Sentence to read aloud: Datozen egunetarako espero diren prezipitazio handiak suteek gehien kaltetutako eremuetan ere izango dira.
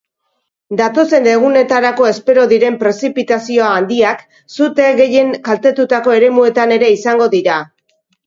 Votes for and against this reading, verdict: 5, 0, accepted